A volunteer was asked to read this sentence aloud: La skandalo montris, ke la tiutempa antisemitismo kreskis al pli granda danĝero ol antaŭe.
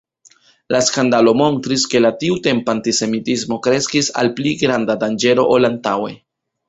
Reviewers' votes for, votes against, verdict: 1, 2, rejected